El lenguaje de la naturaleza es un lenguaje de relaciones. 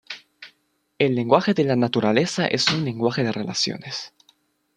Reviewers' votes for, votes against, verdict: 2, 0, accepted